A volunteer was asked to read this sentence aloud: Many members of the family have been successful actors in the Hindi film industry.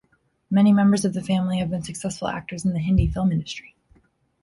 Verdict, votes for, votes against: accepted, 3, 0